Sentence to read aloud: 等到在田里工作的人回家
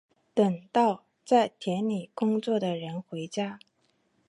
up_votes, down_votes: 3, 0